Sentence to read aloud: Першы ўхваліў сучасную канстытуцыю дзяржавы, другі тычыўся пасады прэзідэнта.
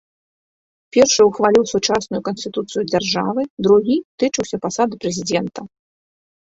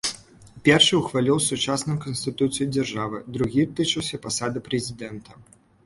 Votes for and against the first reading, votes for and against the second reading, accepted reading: 0, 2, 2, 0, second